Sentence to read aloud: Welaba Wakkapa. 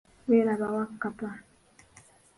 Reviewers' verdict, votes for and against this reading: accepted, 2, 1